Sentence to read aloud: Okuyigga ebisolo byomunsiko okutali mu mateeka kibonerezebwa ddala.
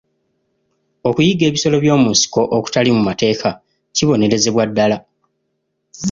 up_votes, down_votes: 2, 0